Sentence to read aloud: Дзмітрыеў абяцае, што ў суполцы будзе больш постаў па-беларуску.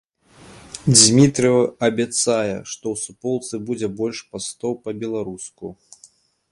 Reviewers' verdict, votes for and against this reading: rejected, 1, 2